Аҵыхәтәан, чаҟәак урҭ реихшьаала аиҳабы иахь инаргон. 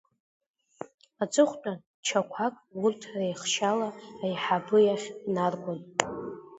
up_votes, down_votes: 2, 1